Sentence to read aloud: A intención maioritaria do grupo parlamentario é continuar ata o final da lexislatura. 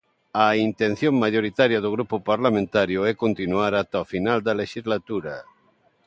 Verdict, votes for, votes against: accepted, 2, 0